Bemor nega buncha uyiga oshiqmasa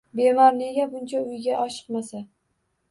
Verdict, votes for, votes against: rejected, 1, 2